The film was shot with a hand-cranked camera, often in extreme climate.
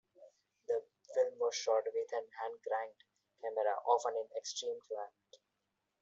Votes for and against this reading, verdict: 2, 1, accepted